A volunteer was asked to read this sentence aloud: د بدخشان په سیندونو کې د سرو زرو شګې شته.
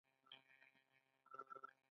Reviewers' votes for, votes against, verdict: 3, 2, accepted